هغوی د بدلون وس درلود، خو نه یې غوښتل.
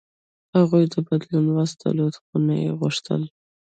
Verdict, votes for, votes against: accepted, 2, 0